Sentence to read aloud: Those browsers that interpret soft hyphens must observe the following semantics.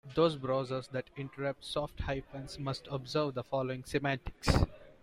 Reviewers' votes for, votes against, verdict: 0, 2, rejected